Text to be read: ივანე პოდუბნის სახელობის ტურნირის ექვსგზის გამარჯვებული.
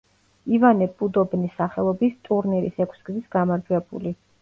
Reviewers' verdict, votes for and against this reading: rejected, 0, 2